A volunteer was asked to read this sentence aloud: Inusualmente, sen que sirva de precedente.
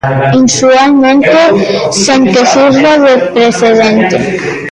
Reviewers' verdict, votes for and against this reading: rejected, 0, 2